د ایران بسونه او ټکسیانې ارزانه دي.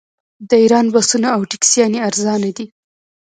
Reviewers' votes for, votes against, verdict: 0, 2, rejected